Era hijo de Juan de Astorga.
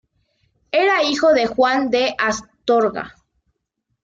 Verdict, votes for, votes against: accepted, 2, 0